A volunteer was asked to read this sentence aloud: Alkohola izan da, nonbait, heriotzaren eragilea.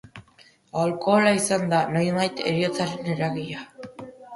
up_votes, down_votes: 2, 0